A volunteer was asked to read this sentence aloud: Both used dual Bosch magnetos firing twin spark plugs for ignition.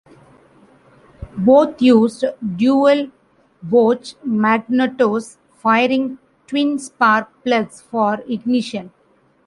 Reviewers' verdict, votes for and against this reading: rejected, 1, 2